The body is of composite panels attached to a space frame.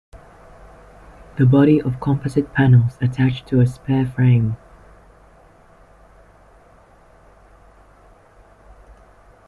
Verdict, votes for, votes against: rejected, 0, 2